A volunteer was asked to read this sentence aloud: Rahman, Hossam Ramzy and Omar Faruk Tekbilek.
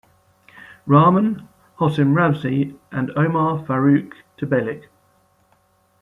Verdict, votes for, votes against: accepted, 2, 0